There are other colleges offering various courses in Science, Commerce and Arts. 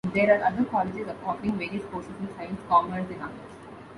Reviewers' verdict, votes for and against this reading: rejected, 0, 2